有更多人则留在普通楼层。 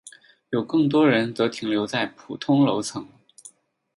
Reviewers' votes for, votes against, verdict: 0, 6, rejected